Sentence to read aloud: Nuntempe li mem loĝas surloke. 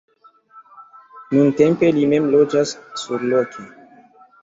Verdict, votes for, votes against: rejected, 1, 2